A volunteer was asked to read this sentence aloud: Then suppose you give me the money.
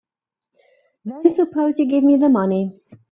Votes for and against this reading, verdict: 3, 0, accepted